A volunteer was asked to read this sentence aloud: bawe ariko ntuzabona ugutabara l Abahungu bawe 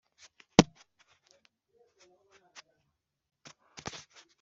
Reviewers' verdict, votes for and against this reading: rejected, 1, 3